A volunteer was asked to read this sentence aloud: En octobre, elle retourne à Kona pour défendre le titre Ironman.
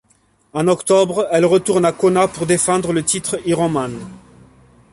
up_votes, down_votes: 1, 2